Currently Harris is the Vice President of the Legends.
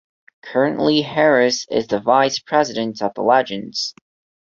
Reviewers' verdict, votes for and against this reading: accepted, 2, 0